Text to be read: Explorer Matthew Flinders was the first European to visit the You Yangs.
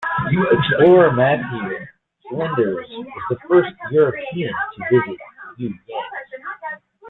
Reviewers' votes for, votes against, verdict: 1, 2, rejected